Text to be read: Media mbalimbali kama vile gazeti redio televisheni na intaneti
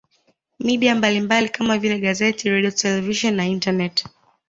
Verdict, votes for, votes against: accepted, 2, 1